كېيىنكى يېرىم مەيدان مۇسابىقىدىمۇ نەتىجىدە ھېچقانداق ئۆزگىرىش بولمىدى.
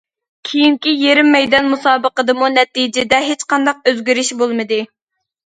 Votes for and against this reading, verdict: 2, 0, accepted